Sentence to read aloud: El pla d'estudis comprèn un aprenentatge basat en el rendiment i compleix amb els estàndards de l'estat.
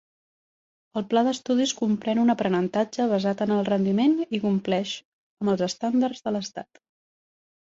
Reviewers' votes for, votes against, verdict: 3, 0, accepted